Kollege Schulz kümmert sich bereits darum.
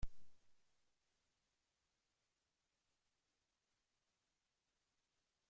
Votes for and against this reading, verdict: 0, 3, rejected